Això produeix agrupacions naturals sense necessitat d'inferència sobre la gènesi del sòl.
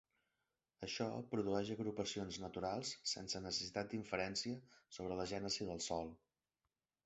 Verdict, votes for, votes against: accepted, 3, 0